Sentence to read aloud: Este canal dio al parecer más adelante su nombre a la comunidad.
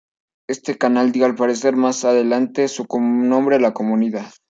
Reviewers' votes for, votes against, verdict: 1, 2, rejected